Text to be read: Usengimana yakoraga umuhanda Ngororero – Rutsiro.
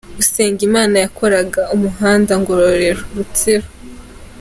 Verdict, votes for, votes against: accepted, 2, 0